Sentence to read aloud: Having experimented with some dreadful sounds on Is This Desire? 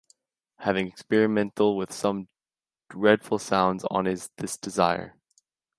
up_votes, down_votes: 1, 2